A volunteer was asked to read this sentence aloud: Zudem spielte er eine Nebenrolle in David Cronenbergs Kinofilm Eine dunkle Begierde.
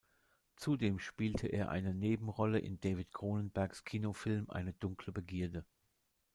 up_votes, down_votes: 2, 0